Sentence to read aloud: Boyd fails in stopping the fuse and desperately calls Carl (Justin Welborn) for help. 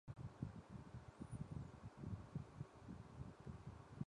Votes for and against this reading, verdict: 0, 2, rejected